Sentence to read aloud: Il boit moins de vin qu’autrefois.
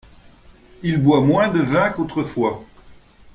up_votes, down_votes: 2, 0